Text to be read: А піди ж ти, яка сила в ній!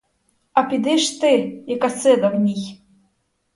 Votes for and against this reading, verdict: 2, 2, rejected